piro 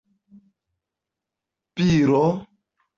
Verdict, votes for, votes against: accepted, 2, 0